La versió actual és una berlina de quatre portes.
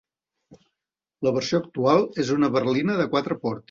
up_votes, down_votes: 1, 2